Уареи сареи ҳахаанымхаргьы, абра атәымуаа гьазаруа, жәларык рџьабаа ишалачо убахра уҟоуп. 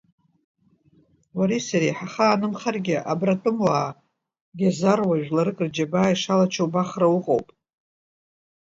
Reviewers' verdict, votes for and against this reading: accepted, 2, 0